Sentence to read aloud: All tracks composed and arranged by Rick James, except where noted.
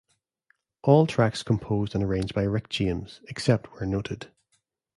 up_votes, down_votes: 2, 0